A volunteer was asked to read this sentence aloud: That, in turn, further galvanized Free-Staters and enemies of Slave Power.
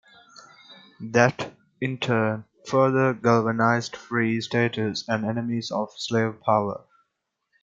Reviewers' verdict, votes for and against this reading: accepted, 2, 0